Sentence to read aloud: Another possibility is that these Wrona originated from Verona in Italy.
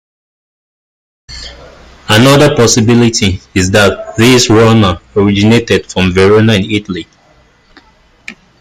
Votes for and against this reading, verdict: 0, 2, rejected